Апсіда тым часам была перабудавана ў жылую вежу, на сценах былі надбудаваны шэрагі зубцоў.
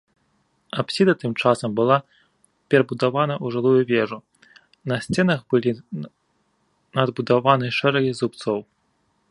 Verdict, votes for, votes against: rejected, 0, 2